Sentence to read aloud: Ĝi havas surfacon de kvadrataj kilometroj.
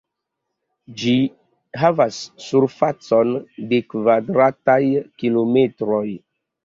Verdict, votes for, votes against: accepted, 2, 0